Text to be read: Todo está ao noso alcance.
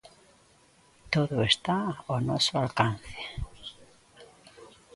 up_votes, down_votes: 2, 0